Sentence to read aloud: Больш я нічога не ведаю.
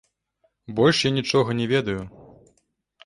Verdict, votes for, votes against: rejected, 0, 2